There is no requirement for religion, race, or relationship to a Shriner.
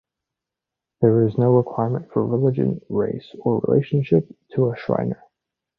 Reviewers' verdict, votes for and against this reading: accepted, 2, 0